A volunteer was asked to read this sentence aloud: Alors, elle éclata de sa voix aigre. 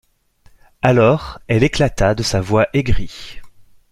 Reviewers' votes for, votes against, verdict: 0, 2, rejected